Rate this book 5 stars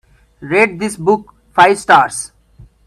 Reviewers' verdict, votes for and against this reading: rejected, 0, 2